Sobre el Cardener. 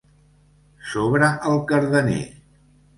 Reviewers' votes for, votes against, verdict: 2, 0, accepted